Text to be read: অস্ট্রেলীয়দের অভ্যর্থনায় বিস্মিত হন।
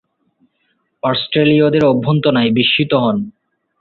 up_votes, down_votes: 4, 1